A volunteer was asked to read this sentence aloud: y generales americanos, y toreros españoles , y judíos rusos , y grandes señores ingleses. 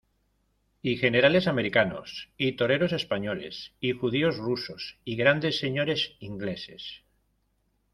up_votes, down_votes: 1, 2